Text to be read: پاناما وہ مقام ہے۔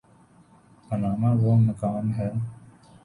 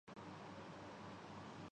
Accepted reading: first